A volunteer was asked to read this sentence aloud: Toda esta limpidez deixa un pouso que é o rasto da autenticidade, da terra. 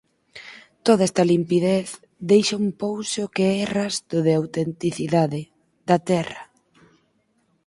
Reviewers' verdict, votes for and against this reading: rejected, 0, 4